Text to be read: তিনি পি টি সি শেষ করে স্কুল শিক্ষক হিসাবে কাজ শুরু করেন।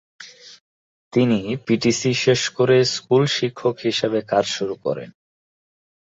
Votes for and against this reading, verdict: 0, 2, rejected